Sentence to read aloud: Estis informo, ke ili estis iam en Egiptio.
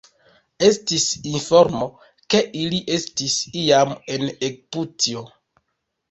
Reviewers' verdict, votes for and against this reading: rejected, 0, 3